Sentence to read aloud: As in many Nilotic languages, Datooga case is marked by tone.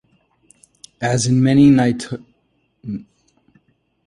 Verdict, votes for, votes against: rejected, 0, 2